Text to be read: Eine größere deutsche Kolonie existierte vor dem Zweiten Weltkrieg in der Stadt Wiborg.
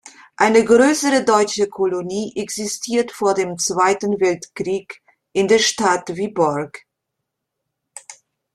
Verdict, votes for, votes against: rejected, 0, 2